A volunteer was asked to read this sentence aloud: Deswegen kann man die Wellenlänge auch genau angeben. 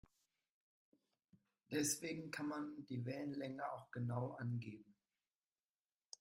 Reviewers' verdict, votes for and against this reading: rejected, 1, 2